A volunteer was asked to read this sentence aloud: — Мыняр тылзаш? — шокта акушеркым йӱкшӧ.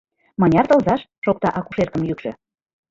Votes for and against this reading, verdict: 2, 1, accepted